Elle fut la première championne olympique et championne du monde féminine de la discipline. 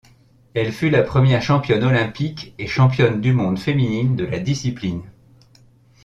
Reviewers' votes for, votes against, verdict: 2, 0, accepted